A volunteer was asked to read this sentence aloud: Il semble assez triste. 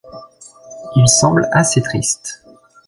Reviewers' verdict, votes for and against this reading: accepted, 2, 0